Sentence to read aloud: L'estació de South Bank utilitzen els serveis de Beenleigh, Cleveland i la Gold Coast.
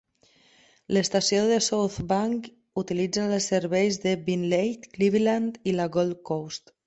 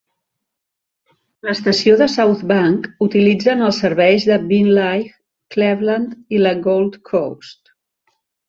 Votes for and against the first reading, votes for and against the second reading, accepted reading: 2, 0, 1, 2, first